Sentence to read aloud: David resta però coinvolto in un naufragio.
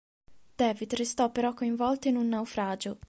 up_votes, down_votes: 1, 2